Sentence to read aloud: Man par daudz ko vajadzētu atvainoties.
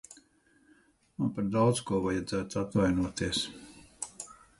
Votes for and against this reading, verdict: 2, 2, rejected